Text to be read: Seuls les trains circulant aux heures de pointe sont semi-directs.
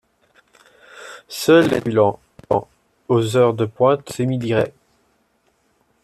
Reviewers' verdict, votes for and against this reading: rejected, 0, 2